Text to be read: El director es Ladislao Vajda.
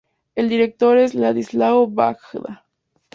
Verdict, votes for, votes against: accepted, 2, 0